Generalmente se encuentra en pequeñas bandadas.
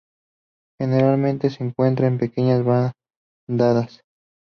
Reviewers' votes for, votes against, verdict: 2, 0, accepted